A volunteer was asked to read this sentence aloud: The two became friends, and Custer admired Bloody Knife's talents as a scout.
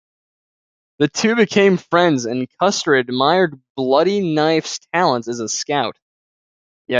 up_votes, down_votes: 1, 2